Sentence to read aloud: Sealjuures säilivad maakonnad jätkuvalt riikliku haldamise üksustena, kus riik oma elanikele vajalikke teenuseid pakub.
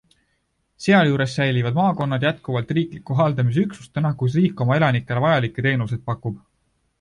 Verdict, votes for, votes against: accepted, 2, 0